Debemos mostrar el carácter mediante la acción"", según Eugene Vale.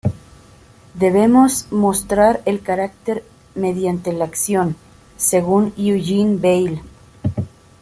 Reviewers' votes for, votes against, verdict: 2, 0, accepted